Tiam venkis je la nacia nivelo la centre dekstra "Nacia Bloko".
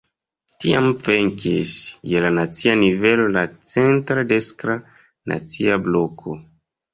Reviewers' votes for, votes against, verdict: 0, 2, rejected